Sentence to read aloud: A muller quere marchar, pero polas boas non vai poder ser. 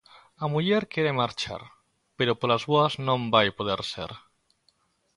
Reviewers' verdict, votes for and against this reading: accepted, 2, 0